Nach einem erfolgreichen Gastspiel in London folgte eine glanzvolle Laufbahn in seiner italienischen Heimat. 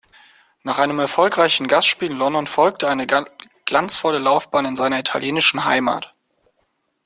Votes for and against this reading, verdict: 1, 2, rejected